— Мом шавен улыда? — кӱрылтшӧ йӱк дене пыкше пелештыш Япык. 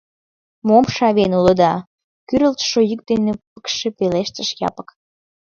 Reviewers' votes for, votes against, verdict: 2, 0, accepted